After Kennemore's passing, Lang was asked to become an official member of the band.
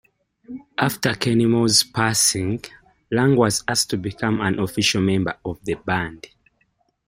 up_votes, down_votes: 2, 1